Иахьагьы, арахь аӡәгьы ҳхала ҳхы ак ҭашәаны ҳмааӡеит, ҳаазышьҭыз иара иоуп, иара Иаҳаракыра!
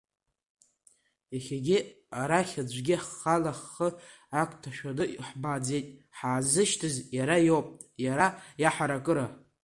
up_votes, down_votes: 2, 1